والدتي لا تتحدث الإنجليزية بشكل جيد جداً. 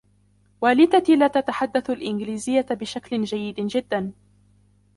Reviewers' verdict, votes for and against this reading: rejected, 0, 2